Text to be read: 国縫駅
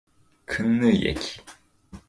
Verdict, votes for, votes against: rejected, 1, 2